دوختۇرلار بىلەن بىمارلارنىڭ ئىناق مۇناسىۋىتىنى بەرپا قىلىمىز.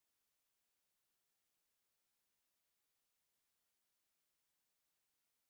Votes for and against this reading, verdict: 0, 2, rejected